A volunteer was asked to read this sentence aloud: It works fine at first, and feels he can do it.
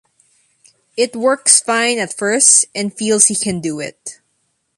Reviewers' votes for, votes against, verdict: 2, 0, accepted